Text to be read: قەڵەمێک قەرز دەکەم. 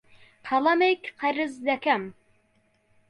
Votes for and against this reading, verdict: 2, 0, accepted